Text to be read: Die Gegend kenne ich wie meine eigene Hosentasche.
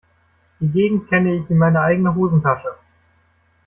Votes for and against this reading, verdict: 2, 1, accepted